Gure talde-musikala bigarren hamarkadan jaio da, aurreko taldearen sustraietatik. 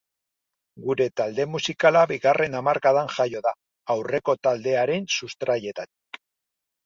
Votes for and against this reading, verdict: 1, 2, rejected